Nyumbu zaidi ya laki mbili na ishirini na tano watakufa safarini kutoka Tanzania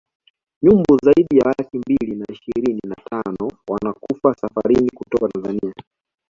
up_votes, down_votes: 1, 2